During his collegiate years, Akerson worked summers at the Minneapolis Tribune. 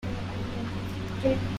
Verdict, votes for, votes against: rejected, 0, 2